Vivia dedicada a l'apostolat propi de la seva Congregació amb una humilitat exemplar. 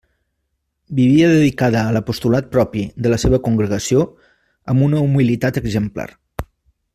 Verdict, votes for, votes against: accepted, 2, 0